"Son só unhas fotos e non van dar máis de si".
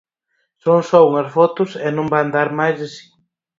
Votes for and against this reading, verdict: 0, 4, rejected